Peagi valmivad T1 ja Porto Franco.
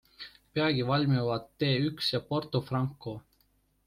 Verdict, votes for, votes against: rejected, 0, 2